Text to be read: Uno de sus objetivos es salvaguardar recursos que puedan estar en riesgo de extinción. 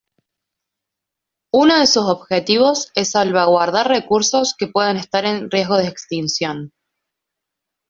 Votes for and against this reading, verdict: 2, 1, accepted